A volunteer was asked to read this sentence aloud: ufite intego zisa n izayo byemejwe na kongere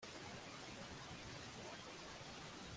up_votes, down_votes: 0, 2